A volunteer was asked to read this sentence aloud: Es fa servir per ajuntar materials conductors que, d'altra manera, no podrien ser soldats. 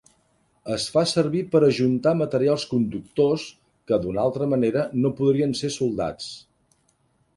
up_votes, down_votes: 0, 2